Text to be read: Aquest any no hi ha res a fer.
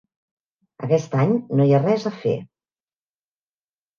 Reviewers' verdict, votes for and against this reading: accepted, 3, 0